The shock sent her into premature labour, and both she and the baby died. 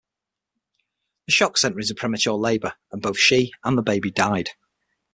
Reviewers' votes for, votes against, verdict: 3, 6, rejected